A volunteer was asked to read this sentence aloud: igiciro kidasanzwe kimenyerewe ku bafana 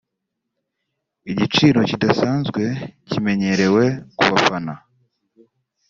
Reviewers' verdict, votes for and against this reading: accepted, 2, 0